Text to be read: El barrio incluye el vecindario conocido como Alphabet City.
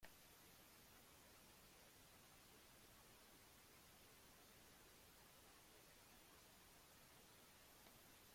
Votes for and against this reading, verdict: 0, 2, rejected